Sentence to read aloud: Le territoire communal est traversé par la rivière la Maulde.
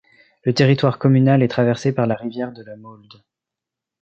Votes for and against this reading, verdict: 0, 2, rejected